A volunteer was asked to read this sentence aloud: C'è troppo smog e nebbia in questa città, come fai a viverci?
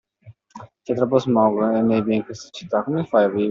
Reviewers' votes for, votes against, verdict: 0, 2, rejected